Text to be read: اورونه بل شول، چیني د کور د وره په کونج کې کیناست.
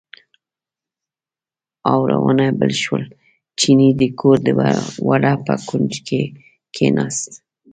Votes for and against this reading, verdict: 2, 0, accepted